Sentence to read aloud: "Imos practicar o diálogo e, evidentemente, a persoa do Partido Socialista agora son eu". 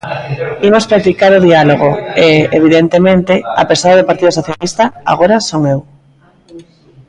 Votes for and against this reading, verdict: 2, 0, accepted